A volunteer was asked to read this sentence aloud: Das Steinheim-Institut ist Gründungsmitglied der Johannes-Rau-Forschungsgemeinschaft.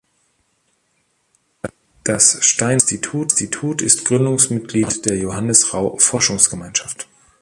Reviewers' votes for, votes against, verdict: 0, 2, rejected